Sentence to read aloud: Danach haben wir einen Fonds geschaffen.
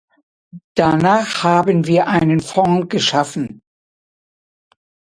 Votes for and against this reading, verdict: 2, 0, accepted